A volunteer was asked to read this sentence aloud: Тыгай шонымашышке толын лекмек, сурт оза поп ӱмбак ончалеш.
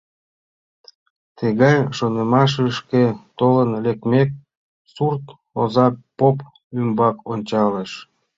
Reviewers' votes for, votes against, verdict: 2, 0, accepted